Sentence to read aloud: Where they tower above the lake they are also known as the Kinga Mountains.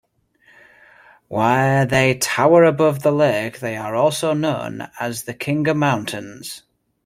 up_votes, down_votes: 0, 2